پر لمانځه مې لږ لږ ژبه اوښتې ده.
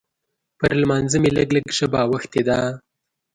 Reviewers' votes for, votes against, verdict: 3, 0, accepted